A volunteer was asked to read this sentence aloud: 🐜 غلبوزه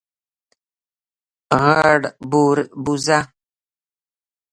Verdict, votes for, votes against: rejected, 0, 2